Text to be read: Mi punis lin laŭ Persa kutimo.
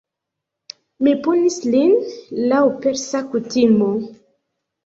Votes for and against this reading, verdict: 0, 2, rejected